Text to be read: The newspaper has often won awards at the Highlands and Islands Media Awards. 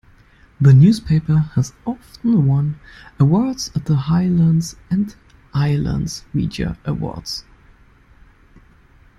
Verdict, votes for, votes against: accepted, 2, 0